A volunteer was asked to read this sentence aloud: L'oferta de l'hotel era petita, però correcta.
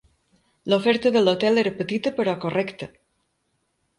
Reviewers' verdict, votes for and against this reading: rejected, 1, 2